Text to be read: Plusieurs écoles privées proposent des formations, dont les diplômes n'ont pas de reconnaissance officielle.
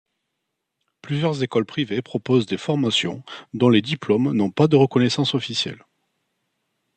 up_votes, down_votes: 2, 0